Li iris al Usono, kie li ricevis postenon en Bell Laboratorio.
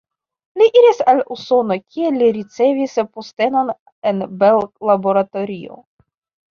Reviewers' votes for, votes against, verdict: 2, 0, accepted